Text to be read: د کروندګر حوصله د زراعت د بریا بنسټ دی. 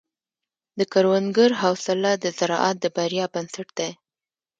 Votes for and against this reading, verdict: 1, 2, rejected